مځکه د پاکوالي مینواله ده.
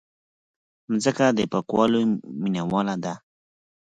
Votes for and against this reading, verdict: 4, 0, accepted